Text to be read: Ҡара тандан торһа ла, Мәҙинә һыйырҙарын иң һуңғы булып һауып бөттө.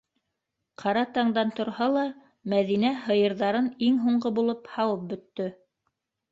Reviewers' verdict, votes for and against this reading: rejected, 0, 2